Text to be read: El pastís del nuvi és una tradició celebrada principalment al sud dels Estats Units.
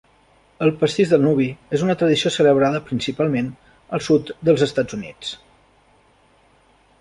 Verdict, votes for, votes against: accepted, 3, 0